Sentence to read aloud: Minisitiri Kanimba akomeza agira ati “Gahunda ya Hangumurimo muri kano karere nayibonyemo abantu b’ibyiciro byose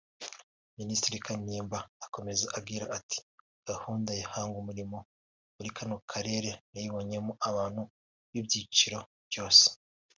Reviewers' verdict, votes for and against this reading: accepted, 2, 1